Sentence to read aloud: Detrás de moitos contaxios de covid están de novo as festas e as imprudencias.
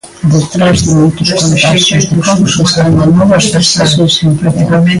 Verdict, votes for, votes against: rejected, 1, 2